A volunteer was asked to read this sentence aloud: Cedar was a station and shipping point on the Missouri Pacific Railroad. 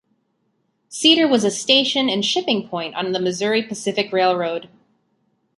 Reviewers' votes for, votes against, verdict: 2, 0, accepted